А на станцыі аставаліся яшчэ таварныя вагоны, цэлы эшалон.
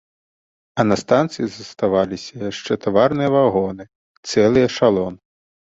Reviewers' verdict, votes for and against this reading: rejected, 0, 2